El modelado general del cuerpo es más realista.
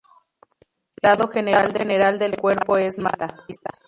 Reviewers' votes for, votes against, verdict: 0, 2, rejected